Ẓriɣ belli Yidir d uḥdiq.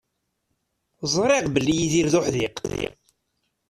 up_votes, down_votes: 1, 2